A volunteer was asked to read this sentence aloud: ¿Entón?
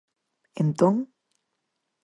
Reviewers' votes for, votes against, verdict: 4, 0, accepted